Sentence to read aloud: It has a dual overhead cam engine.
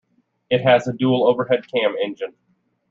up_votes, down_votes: 2, 0